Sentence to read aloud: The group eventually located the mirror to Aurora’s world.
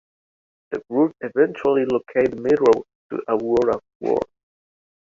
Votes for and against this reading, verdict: 2, 1, accepted